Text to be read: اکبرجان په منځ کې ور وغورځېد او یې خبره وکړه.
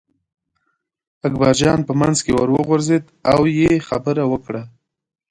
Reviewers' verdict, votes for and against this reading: accepted, 2, 1